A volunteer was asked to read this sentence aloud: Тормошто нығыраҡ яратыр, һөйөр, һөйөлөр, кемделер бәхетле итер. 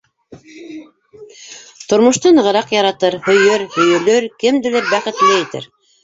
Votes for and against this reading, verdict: 0, 2, rejected